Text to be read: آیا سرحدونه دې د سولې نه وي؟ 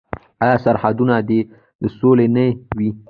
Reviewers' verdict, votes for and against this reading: rejected, 0, 2